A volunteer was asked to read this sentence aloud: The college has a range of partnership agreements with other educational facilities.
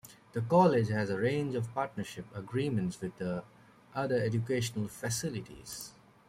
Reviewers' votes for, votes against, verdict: 2, 0, accepted